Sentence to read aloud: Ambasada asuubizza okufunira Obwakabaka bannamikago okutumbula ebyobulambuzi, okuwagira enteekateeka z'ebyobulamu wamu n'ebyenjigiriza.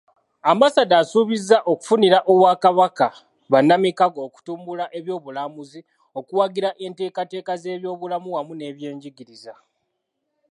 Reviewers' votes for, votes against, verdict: 2, 0, accepted